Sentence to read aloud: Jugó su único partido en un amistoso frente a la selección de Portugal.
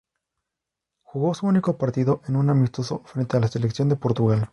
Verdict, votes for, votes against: accepted, 2, 0